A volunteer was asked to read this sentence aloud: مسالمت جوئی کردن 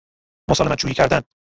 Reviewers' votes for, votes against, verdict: 0, 2, rejected